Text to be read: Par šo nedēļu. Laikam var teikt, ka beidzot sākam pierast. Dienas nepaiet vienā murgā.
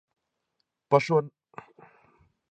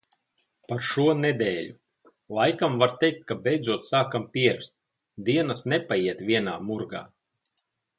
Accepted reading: second